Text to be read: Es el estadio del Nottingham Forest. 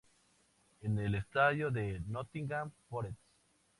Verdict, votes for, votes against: rejected, 0, 2